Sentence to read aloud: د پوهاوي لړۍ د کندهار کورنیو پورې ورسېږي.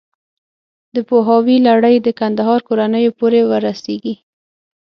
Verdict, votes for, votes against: accepted, 6, 0